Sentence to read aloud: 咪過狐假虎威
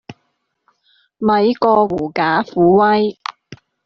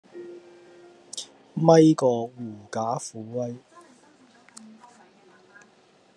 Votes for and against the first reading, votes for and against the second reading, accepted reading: 3, 0, 0, 2, first